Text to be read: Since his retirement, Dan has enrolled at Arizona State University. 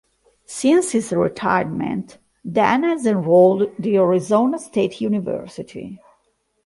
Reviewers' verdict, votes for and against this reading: rejected, 0, 2